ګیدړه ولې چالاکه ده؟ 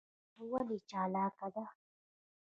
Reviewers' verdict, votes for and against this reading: accepted, 2, 0